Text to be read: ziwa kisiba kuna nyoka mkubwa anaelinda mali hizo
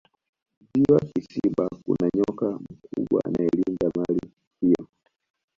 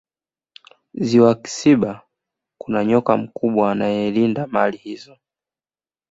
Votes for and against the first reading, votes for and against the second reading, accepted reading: 1, 2, 2, 0, second